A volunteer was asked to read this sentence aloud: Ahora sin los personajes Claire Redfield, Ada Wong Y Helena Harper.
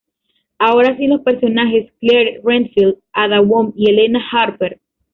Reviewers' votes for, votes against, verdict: 0, 2, rejected